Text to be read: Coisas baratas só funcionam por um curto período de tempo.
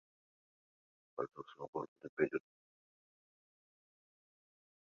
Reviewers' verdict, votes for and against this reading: rejected, 0, 2